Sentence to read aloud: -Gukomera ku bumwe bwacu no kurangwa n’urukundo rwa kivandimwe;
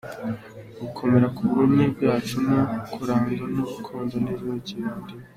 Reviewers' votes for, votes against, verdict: 2, 0, accepted